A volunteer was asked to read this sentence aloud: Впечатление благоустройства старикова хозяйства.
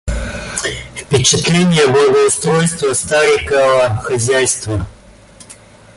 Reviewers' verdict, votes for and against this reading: rejected, 1, 2